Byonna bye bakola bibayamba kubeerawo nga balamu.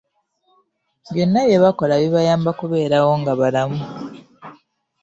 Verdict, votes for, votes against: accepted, 3, 0